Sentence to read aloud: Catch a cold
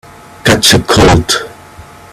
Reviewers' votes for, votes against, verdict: 4, 0, accepted